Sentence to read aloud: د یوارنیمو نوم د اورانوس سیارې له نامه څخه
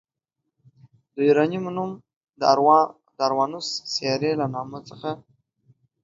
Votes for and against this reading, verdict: 1, 2, rejected